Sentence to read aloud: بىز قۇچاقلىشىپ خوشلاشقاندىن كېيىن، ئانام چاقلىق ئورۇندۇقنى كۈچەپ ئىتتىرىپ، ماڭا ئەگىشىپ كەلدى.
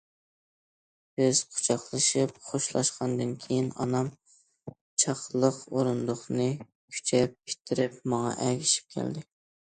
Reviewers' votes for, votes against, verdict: 2, 0, accepted